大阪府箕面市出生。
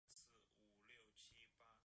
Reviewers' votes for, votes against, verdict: 0, 2, rejected